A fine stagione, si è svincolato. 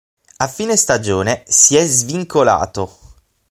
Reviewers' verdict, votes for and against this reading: accepted, 6, 0